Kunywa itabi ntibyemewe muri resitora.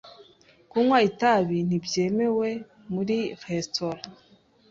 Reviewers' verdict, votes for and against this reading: accepted, 2, 0